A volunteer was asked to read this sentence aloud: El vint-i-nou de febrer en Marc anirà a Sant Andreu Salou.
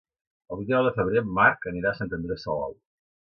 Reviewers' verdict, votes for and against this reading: rejected, 2, 3